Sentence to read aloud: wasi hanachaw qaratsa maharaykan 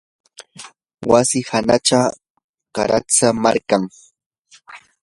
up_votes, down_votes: 0, 2